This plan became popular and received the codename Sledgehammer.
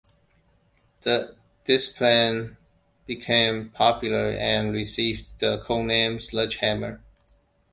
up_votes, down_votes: 0, 3